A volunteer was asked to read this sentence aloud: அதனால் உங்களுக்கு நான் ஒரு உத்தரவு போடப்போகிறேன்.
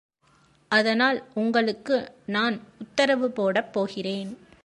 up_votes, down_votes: 0, 2